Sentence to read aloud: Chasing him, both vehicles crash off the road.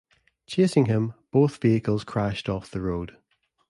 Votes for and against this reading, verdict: 1, 2, rejected